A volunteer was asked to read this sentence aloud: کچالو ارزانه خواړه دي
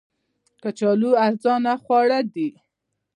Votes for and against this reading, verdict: 2, 0, accepted